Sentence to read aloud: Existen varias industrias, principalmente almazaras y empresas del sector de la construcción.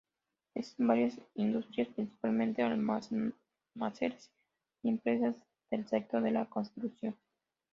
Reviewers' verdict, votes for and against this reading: rejected, 0, 3